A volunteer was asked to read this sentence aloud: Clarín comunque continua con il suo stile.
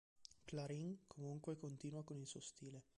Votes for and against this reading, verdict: 2, 0, accepted